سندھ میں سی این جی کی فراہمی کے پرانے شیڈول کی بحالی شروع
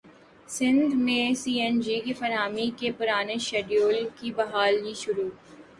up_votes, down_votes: 2, 1